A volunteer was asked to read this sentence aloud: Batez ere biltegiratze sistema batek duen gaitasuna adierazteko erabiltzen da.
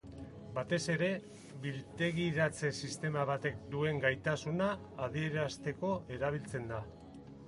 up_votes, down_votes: 2, 0